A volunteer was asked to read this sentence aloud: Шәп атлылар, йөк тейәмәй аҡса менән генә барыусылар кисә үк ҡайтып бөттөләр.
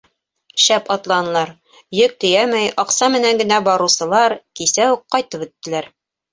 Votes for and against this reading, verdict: 0, 2, rejected